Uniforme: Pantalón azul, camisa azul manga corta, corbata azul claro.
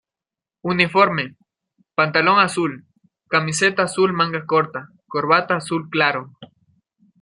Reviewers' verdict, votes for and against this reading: rejected, 0, 2